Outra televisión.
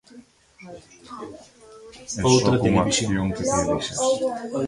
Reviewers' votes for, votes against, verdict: 0, 2, rejected